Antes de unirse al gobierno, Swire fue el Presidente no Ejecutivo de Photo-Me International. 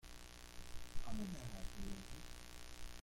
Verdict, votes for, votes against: rejected, 0, 2